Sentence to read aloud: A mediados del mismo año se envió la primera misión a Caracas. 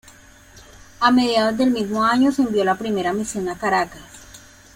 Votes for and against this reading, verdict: 1, 2, rejected